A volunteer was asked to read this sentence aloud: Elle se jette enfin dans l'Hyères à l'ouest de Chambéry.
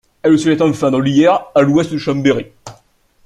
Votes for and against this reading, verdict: 0, 2, rejected